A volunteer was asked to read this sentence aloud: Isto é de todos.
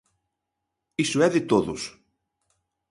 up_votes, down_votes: 1, 2